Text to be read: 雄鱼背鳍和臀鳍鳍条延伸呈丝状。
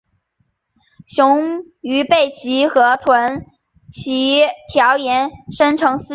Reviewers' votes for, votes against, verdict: 0, 4, rejected